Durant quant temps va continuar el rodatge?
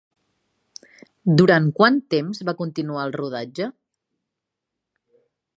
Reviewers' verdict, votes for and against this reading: accepted, 3, 0